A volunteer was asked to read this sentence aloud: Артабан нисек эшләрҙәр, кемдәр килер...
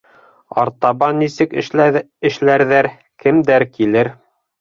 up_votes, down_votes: 1, 4